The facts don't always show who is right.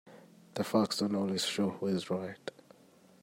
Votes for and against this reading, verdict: 2, 0, accepted